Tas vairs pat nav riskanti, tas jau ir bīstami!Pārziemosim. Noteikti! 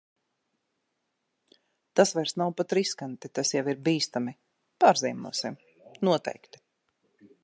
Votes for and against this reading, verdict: 1, 2, rejected